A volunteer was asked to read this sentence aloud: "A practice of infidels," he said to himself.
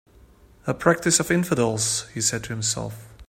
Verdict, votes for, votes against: accepted, 6, 0